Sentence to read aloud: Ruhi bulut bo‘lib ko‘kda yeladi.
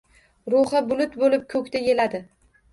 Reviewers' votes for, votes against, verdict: 1, 2, rejected